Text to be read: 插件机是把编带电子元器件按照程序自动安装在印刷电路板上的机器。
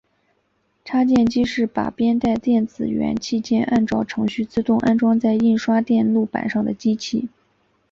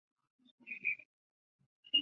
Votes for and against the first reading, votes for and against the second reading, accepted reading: 3, 2, 2, 3, first